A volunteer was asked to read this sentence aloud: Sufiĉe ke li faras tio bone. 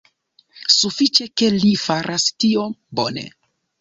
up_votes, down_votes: 2, 0